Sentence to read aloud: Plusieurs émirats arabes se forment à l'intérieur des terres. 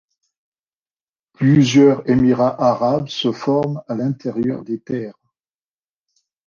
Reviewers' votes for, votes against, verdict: 2, 0, accepted